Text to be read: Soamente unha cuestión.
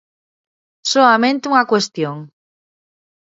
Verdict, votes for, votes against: accepted, 2, 1